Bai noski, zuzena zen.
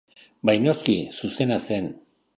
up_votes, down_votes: 2, 0